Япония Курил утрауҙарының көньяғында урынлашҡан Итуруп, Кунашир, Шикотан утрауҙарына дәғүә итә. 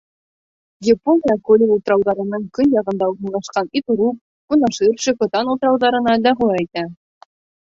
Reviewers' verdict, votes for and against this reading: rejected, 1, 2